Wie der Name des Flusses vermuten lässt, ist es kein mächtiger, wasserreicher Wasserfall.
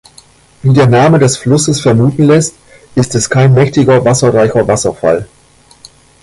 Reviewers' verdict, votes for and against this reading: rejected, 1, 2